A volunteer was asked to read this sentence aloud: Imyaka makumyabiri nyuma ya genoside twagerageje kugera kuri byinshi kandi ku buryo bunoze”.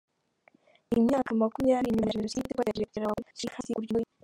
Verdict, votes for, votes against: rejected, 0, 2